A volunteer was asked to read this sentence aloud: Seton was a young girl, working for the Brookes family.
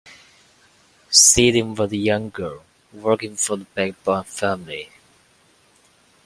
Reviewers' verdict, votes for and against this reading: rejected, 1, 2